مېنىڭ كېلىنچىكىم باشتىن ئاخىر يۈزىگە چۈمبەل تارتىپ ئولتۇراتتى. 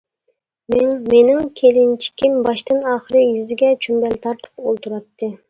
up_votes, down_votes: 1, 2